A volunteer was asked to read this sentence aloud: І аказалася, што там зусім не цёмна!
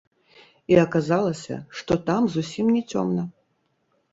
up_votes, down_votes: 1, 3